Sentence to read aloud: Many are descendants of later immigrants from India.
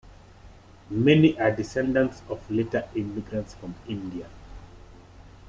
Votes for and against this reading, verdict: 2, 0, accepted